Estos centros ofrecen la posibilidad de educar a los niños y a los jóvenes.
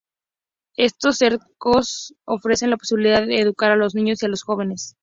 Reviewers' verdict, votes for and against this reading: rejected, 0, 2